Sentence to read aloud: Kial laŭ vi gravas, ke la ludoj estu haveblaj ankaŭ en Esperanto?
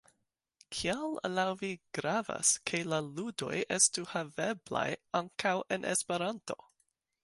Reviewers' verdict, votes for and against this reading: accepted, 2, 0